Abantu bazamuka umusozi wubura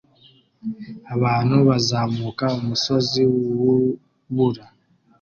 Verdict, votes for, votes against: accepted, 2, 0